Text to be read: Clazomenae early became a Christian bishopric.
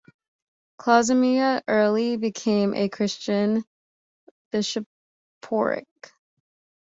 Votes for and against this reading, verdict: 1, 2, rejected